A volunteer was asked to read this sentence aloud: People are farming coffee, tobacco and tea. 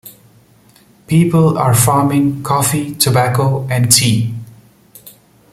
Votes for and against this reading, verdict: 2, 0, accepted